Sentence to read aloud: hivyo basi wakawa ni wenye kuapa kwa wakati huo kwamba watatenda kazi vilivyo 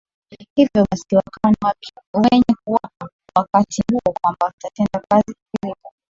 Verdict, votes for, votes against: rejected, 0, 2